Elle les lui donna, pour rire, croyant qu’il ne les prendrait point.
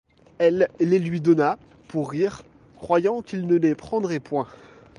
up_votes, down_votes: 2, 0